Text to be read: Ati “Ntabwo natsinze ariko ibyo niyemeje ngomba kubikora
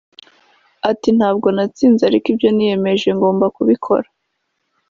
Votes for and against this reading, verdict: 3, 0, accepted